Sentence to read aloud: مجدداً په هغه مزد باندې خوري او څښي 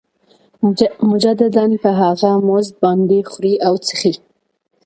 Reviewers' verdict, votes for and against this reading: accepted, 2, 0